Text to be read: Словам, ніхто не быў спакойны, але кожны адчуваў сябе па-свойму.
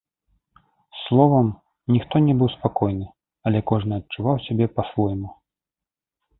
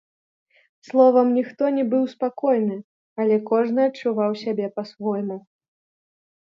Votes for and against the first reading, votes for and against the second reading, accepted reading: 2, 0, 1, 2, first